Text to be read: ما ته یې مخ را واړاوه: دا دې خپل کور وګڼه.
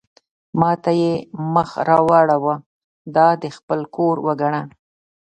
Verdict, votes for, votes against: accepted, 2, 0